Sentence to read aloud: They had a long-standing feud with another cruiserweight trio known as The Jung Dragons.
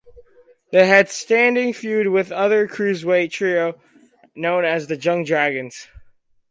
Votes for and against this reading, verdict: 0, 4, rejected